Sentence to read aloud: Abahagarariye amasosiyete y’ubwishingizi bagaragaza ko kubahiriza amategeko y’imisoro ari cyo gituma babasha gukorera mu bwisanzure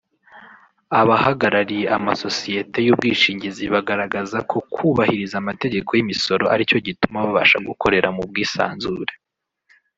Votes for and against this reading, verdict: 1, 2, rejected